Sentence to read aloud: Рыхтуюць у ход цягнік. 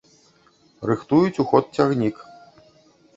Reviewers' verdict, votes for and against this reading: rejected, 1, 2